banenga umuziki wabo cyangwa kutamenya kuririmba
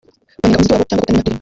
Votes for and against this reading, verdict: 0, 2, rejected